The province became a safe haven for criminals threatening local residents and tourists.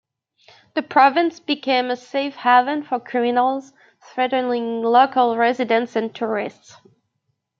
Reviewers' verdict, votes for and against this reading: accepted, 2, 1